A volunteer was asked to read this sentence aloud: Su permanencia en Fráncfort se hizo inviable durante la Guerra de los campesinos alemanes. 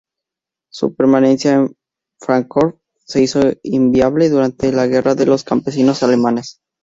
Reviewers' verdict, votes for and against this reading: rejected, 0, 2